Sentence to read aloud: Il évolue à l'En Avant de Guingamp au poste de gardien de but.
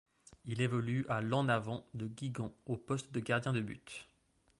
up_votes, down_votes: 1, 2